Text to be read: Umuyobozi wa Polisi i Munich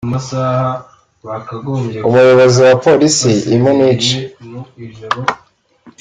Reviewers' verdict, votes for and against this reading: rejected, 1, 3